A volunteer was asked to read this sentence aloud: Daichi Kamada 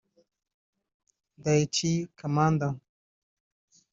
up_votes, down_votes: 3, 0